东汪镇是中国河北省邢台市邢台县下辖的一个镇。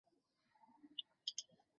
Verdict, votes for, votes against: rejected, 0, 3